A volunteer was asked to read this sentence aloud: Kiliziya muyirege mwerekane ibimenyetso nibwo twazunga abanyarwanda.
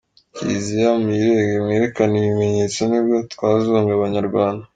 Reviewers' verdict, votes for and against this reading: accepted, 2, 0